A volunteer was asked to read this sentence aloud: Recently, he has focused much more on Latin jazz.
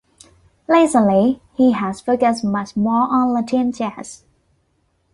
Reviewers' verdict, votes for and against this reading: accepted, 2, 1